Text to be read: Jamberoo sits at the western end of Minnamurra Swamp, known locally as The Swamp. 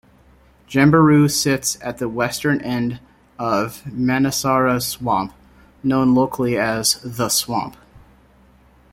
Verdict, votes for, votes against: rejected, 0, 2